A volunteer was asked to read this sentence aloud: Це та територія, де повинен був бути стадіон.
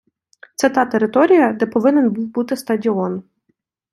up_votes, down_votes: 2, 0